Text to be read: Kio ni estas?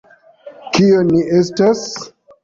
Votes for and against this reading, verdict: 2, 0, accepted